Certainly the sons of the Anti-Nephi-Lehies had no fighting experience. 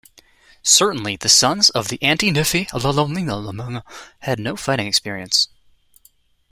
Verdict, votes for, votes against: rejected, 0, 2